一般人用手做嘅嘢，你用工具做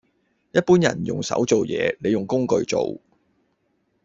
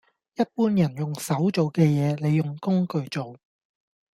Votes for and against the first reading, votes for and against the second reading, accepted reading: 0, 2, 2, 0, second